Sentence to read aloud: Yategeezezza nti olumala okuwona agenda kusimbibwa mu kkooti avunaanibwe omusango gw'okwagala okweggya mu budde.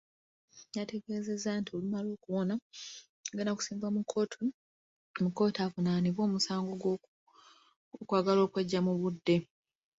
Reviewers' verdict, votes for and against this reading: accepted, 2, 0